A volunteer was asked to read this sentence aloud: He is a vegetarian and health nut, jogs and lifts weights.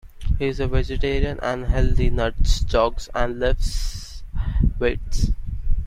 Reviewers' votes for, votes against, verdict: 0, 2, rejected